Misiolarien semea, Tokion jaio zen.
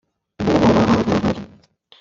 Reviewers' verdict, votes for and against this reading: rejected, 0, 2